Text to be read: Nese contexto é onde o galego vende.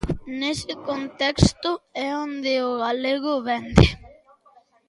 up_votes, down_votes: 2, 0